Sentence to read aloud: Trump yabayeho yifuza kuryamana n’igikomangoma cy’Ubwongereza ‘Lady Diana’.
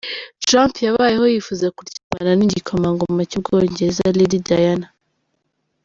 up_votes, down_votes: 2, 0